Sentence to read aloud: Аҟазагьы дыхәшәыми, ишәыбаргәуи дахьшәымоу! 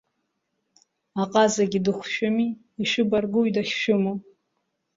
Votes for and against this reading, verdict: 2, 1, accepted